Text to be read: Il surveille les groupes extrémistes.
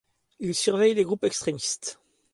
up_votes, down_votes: 2, 0